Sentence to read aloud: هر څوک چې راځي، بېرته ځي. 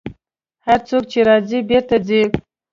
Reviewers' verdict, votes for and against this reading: accepted, 2, 0